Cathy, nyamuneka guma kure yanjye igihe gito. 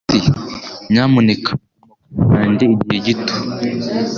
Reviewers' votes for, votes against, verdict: 0, 2, rejected